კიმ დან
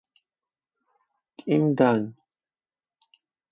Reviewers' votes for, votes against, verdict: 0, 4, rejected